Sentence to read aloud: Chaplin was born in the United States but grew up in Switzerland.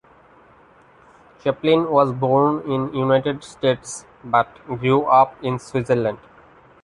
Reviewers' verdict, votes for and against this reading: rejected, 1, 2